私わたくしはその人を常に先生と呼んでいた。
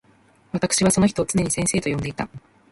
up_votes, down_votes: 2, 0